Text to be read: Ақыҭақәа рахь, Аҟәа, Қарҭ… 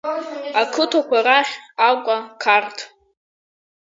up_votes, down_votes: 1, 2